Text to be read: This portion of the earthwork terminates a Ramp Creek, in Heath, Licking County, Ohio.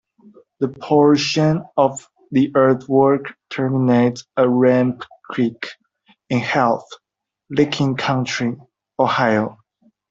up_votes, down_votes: 0, 2